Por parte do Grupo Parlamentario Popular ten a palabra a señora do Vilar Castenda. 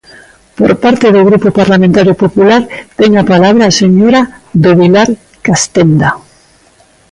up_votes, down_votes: 2, 0